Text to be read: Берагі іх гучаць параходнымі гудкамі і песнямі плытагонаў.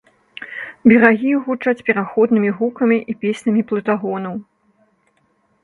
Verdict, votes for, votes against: rejected, 0, 2